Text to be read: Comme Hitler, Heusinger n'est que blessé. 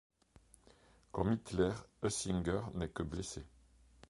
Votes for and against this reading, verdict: 2, 0, accepted